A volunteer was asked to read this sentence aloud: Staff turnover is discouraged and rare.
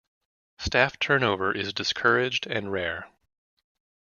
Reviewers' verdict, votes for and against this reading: accepted, 2, 0